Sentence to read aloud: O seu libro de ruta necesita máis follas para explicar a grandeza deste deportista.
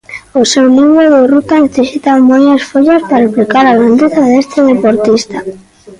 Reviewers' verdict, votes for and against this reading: accepted, 2, 1